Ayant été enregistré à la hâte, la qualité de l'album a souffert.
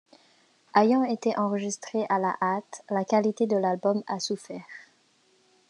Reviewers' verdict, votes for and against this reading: rejected, 0, 2